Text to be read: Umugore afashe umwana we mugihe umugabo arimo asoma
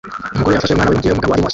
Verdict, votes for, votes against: rejected, 0, 2